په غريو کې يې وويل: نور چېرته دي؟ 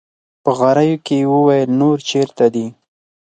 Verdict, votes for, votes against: accepted, 4, 0